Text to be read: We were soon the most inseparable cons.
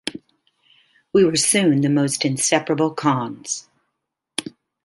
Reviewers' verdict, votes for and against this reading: accepted, 2, 0